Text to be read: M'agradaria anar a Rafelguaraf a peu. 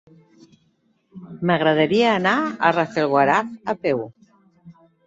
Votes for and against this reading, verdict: 3, 0, accepted